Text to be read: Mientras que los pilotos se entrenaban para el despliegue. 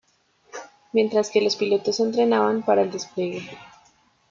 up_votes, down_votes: 2, 1